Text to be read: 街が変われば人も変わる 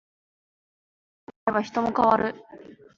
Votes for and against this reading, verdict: 0, 2, rejected